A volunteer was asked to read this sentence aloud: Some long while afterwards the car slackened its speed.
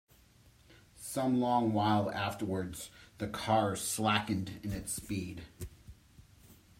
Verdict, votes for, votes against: rejected, 0, 2